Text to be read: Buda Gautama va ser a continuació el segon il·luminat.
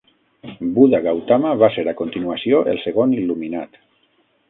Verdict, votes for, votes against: accepted, 6, 0